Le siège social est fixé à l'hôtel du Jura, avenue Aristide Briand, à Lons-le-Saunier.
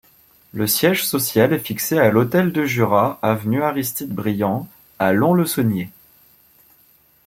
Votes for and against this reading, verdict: 0, 2, rejected